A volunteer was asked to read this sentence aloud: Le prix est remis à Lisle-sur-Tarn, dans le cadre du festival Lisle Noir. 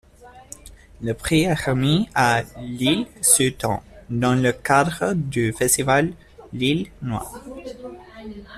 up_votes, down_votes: 2, 1